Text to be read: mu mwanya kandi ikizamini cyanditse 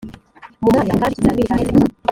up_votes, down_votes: 0, 2